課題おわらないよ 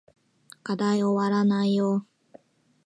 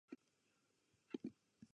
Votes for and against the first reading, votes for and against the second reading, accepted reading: 2, 0, 0, 2, first